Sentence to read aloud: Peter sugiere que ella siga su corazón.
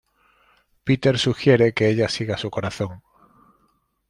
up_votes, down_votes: 2, 0